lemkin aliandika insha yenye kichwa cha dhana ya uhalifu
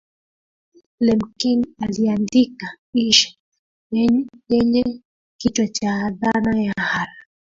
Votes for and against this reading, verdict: 1, 2, rejected